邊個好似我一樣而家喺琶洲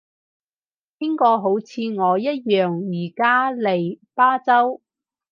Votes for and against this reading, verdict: 0, 4, rejected